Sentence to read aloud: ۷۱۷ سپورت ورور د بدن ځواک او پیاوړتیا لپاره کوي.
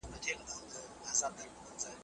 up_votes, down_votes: 0, 2